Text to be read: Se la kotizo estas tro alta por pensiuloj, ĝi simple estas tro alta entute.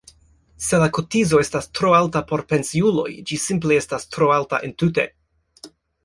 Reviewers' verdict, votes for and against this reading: rejected, 1, 2